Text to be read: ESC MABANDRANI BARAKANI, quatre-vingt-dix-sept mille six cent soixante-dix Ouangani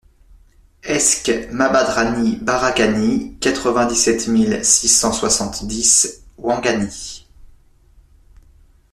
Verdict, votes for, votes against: accepted, 2, 1